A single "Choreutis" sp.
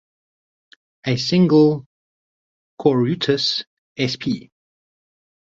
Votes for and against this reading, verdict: 0, 2, rejected